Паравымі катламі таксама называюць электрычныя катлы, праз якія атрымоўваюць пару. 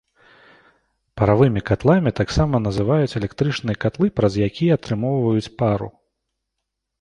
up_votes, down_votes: 2, 1